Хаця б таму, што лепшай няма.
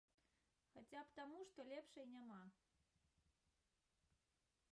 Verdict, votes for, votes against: rejected, 0, 2